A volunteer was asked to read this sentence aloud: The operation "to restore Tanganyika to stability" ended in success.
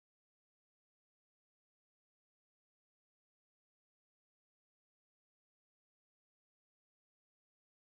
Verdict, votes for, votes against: rejected, 0, 2